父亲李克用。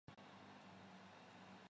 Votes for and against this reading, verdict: 0, 2, rejected